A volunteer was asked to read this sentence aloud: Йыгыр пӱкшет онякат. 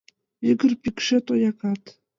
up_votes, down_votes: 2, 1